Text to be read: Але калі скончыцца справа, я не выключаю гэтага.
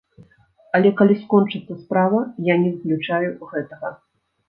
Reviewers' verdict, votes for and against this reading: rejected, 1, 2